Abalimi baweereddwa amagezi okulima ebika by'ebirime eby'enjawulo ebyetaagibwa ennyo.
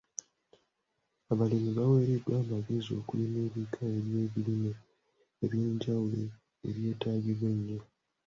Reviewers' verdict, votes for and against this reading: rejected, 1, 2